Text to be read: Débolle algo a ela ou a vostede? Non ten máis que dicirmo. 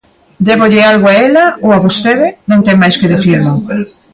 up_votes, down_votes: 2, 1